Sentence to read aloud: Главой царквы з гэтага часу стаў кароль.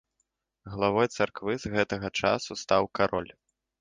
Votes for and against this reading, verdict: 2, 0, accepted